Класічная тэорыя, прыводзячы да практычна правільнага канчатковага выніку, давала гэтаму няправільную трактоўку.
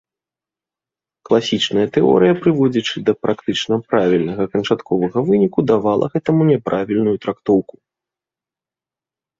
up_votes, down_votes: 2, 0